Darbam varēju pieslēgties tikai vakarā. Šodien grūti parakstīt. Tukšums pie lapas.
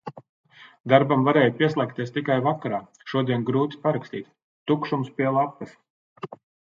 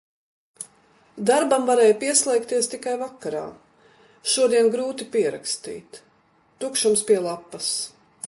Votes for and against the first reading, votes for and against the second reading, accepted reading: 3, 1, 0, 2, first